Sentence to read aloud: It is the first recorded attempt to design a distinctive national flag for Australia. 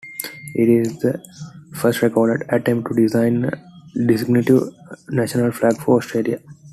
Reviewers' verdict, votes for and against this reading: rejected, 0, 3